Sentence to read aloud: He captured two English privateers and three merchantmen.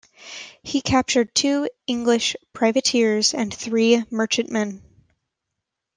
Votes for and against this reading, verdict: 2, 0, accepted